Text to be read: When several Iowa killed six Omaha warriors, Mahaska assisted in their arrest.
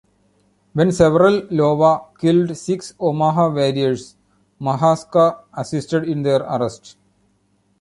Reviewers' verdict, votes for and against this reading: rejected, 0, 2